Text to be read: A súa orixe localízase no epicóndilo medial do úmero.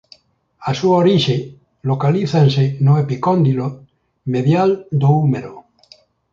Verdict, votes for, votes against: rejected, 0, 2